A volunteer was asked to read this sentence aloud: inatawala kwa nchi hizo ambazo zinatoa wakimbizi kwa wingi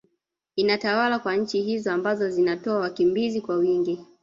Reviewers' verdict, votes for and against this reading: rejected, 1, 2